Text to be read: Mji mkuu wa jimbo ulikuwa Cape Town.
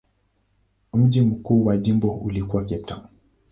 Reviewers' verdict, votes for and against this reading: accepted, 2, 1